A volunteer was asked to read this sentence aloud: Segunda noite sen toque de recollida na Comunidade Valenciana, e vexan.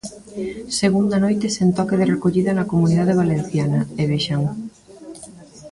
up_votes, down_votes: 1, 2